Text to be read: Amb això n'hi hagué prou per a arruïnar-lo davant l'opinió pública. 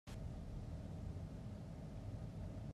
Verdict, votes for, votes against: rejected, 0, 2